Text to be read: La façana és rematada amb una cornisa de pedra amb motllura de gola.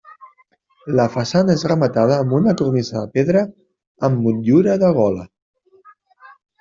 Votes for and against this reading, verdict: 2, 0, accepted